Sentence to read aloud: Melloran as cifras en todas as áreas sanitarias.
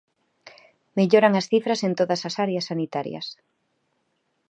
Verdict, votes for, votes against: accepted, 2, 0